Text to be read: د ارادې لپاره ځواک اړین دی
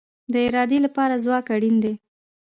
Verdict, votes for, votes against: rejected, 1, 2